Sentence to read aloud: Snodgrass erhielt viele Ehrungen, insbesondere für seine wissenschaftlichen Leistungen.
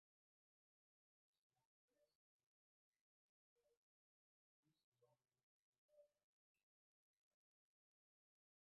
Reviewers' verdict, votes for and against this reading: rejected, 0, 2